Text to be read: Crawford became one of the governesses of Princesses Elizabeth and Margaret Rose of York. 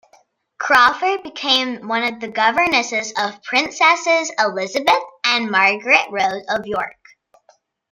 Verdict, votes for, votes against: accepted, 2, 0